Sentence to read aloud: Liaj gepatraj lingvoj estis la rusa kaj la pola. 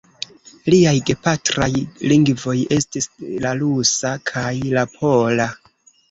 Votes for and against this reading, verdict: 0, 2, rejected